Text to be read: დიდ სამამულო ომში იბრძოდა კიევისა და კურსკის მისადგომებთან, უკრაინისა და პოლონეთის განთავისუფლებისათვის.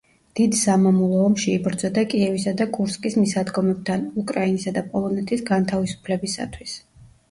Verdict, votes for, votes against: rejected, 1, 2